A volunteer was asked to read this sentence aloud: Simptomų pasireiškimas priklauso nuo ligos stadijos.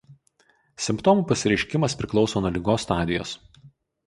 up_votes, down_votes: 4, 0